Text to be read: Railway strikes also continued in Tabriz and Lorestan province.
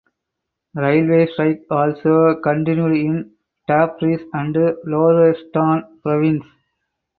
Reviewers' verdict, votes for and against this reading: rejected, 0, 4